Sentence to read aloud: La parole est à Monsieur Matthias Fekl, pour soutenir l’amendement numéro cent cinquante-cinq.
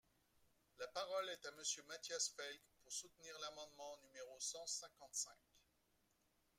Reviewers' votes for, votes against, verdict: 2, 0, accepted